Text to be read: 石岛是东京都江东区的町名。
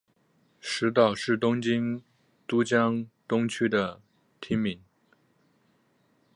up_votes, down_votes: 4, 0